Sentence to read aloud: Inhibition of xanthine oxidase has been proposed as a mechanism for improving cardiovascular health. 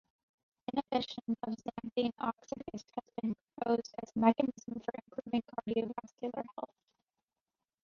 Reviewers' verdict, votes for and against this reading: rejected, 0, 2